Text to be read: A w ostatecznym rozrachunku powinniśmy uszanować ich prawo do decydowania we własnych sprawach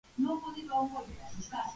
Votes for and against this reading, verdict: 0, 2, rejected